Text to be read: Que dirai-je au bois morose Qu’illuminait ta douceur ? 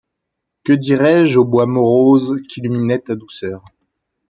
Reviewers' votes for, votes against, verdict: 2, 0, accepted